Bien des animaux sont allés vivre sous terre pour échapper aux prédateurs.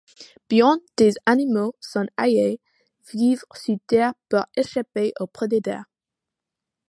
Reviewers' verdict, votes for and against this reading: rejected, 1, 2